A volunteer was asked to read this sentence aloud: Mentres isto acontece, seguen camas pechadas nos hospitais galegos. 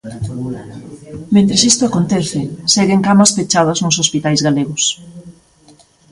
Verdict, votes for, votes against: accepted, 2, 0